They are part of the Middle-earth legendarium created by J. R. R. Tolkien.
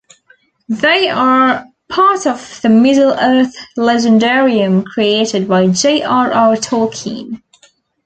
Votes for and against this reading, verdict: 2, 0, accepted